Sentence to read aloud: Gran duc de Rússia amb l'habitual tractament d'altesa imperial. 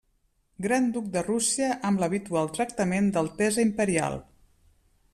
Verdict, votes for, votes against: accepted, 2, 0